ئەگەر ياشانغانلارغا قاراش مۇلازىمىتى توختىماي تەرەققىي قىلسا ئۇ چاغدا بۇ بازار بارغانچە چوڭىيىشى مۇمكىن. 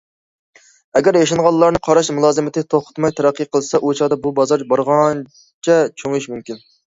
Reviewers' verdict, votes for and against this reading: rejected, 1, 2